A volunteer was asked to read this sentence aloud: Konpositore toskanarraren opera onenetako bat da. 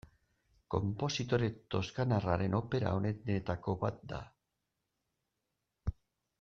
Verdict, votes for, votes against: rejected, 0, 2